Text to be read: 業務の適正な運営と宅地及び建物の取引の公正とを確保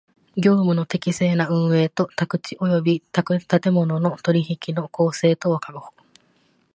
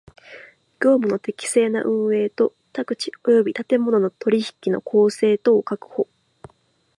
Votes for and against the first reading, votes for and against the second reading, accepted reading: 1, 2, 2, 1, second